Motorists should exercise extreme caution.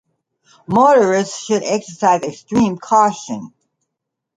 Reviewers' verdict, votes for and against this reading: accepted, 2, 0